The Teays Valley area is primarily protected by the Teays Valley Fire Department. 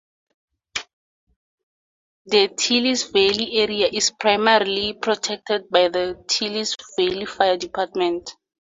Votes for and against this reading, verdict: 4, 2, accepted